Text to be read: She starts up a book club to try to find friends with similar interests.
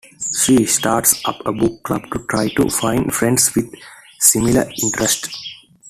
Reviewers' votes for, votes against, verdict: 2, 0, accepted